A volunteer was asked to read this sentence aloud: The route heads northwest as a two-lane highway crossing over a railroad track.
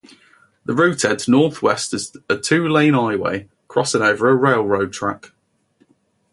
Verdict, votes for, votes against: accepted, 4, 0